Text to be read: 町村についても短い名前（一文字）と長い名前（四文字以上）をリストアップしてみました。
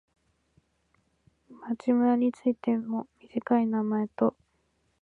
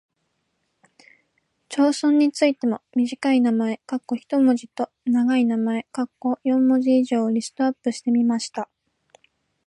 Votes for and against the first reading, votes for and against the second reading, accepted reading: 1, 2, 2, 0, second